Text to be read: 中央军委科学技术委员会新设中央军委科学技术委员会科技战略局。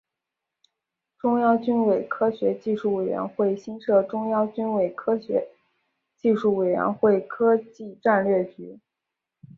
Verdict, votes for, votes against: accepted, 3, 0